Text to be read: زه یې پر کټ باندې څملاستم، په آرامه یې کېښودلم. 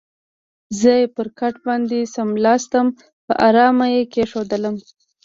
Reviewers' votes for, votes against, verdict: 3, 0, accepted